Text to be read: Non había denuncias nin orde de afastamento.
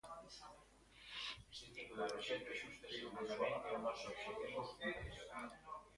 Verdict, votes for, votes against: rejected, 0, 2